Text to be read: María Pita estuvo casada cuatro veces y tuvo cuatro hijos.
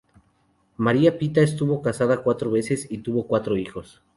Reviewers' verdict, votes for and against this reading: accepted, 2, 0